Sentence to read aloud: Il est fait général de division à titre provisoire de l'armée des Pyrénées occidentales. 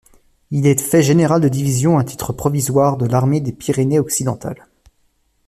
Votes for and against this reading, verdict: 2, 0, accepted